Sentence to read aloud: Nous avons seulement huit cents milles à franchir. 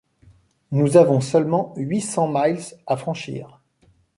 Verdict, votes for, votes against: rejected, 1, 2